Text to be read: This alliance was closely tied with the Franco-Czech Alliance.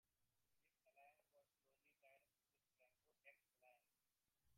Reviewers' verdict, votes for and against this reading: rejected, 0, 2